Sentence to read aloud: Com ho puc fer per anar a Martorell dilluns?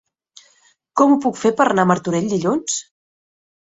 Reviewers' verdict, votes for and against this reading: rejected, 0, 2